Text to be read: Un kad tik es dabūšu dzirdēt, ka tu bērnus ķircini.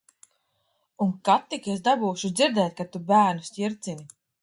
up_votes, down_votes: 2, 1